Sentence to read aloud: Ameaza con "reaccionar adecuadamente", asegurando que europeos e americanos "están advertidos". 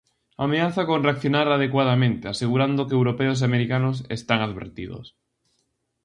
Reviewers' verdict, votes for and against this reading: accepted, 2, 0